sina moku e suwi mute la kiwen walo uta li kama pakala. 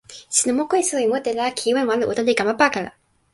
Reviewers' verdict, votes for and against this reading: rejected, 1, 2